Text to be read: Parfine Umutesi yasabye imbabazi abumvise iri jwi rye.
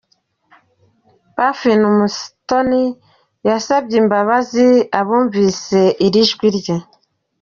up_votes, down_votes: 2, 0